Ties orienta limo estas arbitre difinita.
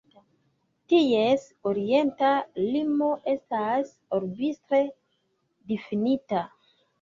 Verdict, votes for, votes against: rejected, 0, 2